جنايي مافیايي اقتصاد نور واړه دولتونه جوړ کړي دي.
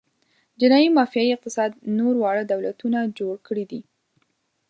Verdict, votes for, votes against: accepted, 2, 0